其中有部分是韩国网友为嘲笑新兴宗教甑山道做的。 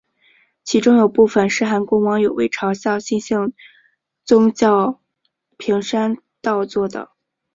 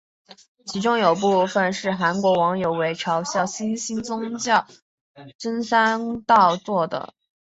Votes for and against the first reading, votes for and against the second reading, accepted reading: 0, 2, 2, 0, second